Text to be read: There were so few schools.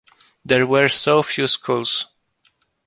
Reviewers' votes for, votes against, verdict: 2, 1, accepted